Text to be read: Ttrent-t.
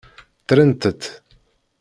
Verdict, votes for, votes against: rejected, 1, 2